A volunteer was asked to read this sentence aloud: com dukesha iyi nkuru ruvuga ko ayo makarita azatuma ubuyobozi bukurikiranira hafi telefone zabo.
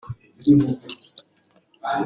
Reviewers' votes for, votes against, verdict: 0, 3, rejected